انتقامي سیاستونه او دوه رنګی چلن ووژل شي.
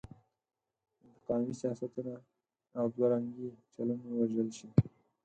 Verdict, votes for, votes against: rejected, 2, 4